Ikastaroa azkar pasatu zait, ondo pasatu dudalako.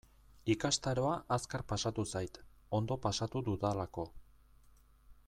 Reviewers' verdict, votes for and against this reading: accepted, 2, 0